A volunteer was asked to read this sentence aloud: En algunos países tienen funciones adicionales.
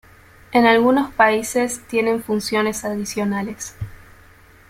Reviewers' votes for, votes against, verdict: 2, 0, accepted